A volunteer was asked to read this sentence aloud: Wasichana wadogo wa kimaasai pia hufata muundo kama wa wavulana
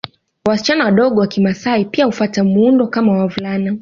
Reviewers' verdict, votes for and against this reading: accepted, 2, 0